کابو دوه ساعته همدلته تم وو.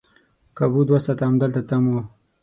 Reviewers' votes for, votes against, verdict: 6, 0, accepted